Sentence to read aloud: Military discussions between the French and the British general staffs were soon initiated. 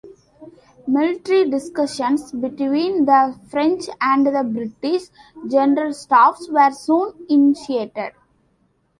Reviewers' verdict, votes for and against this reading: accepted, 2, 0